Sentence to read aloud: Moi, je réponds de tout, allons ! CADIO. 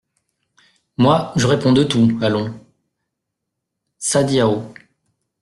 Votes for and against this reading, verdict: 1, 2, rejected